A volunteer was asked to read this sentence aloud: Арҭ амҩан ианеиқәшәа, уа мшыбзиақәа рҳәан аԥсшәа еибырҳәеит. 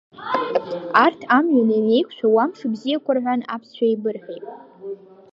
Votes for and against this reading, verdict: 0, 2, rejected